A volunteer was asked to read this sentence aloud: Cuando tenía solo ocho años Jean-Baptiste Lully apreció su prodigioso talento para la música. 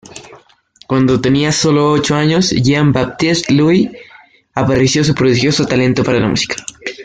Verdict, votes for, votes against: rejected, 1, 2